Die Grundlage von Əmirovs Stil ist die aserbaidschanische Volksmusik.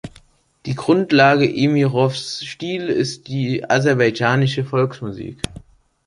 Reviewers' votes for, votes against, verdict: 0, 2, rejected